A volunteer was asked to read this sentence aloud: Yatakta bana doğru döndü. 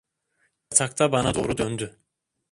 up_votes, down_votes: 1, 2